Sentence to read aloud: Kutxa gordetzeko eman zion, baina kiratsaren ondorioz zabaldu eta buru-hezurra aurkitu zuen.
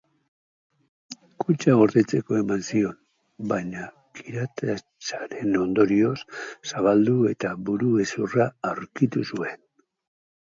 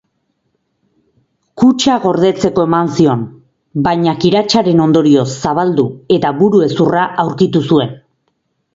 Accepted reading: second